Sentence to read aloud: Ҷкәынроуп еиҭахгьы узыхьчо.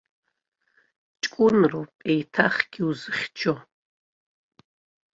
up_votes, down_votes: 2, 0